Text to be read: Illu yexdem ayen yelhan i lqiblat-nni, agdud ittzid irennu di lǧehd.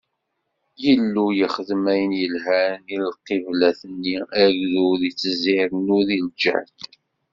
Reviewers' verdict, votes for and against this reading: rejected, 1, 2